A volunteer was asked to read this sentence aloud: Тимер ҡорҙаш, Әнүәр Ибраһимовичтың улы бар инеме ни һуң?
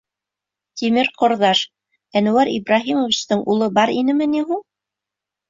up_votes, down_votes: 2, 0